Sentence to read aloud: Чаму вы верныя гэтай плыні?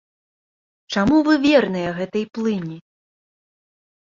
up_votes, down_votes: 2, 0